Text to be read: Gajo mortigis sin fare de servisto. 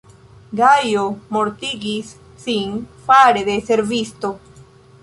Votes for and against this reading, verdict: 2, 0, accepted